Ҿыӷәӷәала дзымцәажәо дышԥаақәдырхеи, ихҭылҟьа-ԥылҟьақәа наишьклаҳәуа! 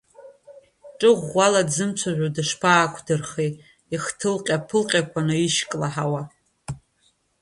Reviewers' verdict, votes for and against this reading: accepted, 2, 1